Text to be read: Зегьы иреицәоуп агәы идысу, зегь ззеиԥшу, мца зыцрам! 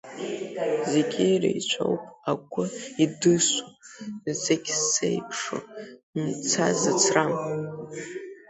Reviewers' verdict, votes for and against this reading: rejected, 0, 2